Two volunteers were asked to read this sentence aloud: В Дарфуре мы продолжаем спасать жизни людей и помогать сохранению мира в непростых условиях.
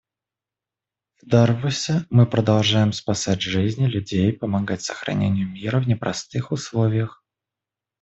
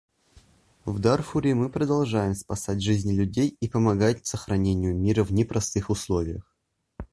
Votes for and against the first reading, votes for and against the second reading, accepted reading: 0, 2, 2, 0, second